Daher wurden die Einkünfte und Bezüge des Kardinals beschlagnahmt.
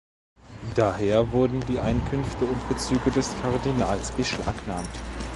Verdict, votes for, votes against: accepted, 2, 1